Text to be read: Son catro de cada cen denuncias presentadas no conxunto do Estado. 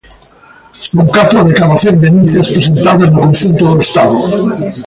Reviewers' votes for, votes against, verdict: 1, 3, rejected